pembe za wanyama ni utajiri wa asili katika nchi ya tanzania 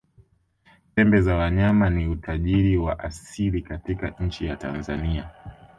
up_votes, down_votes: 2, 0